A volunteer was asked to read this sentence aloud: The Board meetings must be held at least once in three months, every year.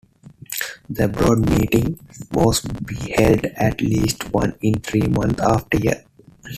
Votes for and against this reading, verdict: 1, 2, rejected